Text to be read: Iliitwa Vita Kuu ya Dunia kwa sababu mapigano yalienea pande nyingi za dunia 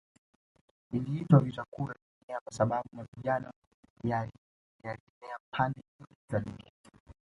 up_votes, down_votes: 1, 2